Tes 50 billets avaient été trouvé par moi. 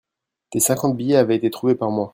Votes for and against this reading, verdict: 0, 2, rejected